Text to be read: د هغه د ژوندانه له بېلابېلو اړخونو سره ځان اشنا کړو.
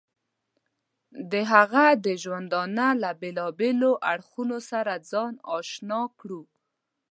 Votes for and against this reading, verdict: 2, 0, accepted